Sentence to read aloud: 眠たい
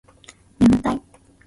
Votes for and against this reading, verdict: 3, 2, accepted